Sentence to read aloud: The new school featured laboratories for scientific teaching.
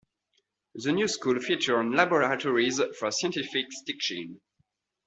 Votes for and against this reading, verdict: 0, 2, rejected